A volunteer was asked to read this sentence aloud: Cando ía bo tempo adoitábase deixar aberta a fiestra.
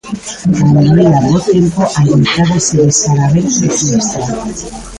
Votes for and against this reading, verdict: 0, 2, rejected